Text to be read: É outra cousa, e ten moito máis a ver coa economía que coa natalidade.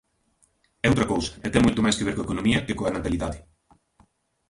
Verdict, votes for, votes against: rejected, 0, 2